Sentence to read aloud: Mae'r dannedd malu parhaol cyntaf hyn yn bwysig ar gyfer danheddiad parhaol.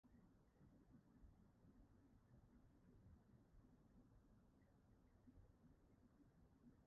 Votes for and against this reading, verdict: 0, 2, rejected